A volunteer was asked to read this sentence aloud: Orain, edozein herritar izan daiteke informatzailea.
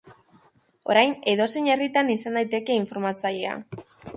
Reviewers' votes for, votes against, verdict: 0, 2, rejected